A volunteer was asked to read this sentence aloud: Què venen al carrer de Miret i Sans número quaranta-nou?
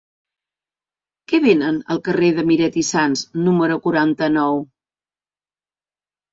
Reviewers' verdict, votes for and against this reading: rejected, 1, 2